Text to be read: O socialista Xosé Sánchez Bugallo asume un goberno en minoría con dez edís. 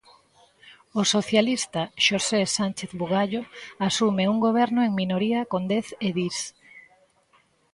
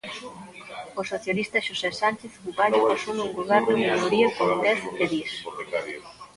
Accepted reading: first